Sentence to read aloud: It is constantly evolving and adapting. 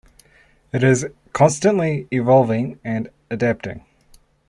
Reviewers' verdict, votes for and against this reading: accepted, 2, 0